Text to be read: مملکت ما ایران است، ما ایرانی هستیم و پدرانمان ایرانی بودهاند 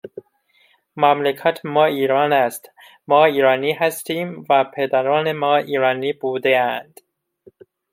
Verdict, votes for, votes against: rejected, 1, 2